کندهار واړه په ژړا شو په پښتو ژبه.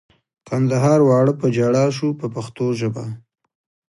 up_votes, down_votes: 2, 0